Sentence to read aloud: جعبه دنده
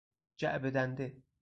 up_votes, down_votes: 2, 2